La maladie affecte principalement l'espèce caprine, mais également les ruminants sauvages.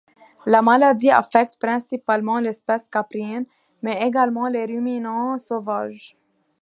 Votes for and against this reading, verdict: 2, 0, accepted